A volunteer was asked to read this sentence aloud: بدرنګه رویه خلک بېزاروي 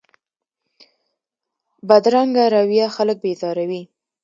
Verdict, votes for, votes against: accepted, 2, 0